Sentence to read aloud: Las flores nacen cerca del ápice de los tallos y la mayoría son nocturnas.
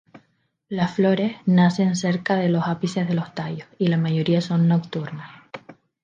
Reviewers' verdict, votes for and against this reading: rejected, 0, 2